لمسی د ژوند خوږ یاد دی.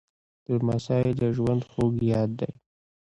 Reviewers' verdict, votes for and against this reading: rejected, 1, 2